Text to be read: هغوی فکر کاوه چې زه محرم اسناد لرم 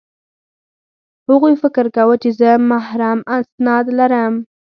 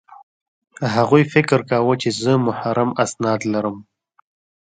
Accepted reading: first